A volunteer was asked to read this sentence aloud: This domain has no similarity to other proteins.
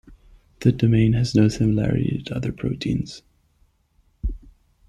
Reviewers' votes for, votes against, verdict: 0, 2, rejected